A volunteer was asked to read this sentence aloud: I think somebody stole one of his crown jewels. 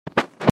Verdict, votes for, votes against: rejected, 0, 2